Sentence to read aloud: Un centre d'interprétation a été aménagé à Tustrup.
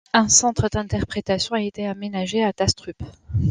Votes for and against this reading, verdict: 2, 0, accepted